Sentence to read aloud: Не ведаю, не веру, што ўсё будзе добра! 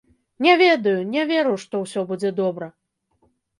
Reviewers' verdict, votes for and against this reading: rejected, 1, 2